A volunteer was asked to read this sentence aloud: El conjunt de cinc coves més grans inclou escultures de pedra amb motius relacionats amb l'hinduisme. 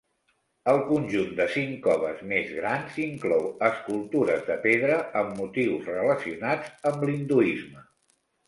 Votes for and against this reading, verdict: 4, 1, accepted